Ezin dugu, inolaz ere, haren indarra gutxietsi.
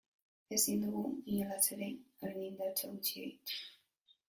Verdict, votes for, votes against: rejected, 2, 9